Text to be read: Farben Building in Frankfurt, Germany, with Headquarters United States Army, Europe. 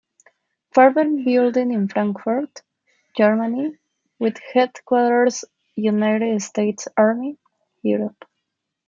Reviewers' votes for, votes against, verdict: 0, 2, rejected